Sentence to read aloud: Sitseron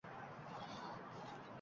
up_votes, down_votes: 0, 2